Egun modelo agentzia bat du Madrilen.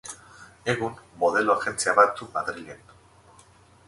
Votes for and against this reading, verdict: 2, 2, rejected